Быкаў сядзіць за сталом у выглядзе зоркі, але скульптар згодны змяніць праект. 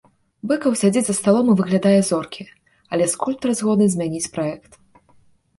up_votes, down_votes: 0, 2